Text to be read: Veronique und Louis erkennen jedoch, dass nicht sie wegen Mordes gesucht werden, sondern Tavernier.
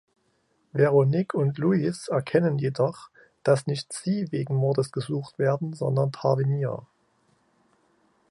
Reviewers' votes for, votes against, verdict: 0, 2, rejected